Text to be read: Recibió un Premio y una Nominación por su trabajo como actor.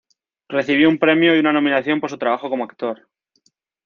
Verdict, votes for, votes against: accepted, 2, 0